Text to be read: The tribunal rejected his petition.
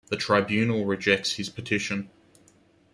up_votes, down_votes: 1, 2